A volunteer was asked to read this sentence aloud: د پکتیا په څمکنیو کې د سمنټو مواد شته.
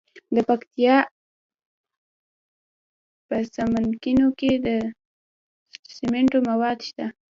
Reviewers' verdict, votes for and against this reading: rejected, 0, 2